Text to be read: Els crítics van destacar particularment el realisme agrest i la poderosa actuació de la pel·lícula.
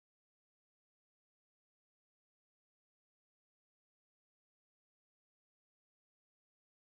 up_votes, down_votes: 0, 3